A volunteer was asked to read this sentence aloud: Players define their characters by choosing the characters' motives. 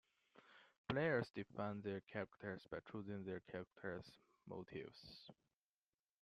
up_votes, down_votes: 0, 2